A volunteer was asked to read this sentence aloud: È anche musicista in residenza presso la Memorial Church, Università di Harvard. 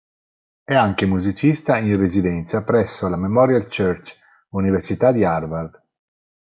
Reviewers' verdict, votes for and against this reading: accepted, 6, 0